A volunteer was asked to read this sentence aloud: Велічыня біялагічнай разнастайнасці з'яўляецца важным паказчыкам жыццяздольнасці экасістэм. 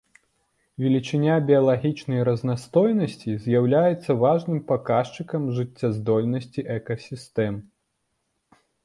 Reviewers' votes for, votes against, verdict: 0, 2, rejected